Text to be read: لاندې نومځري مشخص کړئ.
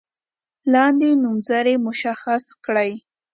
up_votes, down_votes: 6, 0